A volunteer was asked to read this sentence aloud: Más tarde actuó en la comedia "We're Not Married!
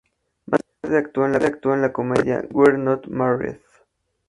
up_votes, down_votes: 0, 2